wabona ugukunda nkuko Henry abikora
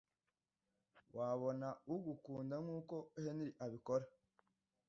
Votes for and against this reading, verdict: 2, 0, accepted